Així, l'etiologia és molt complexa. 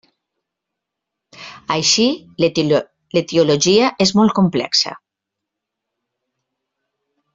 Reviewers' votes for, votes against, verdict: 0, 2, rejected